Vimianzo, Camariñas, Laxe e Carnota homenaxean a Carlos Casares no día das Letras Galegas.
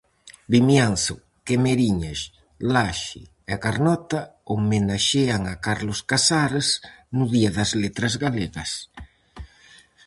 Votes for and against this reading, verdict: 0, 4, rejected